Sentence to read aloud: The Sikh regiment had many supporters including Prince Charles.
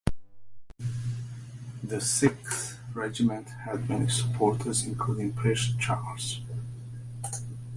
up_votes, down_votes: 0, 2